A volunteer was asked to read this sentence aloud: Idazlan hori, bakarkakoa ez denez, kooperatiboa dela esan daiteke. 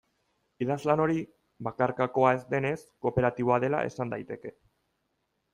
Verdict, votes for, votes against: accepted, 3, 0